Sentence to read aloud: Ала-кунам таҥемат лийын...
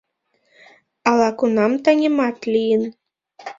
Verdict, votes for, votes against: accepted, 2, 0